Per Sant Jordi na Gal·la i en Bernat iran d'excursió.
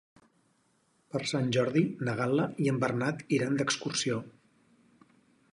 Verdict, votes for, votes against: accepted, 4, 0